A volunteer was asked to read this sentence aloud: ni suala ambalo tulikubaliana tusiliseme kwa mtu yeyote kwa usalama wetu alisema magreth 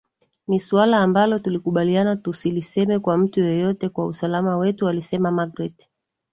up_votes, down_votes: 2, 1